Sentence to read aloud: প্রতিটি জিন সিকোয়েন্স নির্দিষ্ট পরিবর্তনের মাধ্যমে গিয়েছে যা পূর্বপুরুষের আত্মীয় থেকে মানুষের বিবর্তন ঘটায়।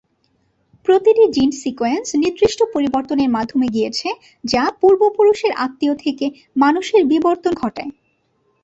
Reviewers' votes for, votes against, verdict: 5, 0, accepted